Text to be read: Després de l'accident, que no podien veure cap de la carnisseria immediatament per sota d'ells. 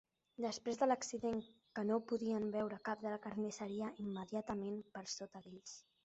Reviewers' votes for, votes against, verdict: 2, 0, accepted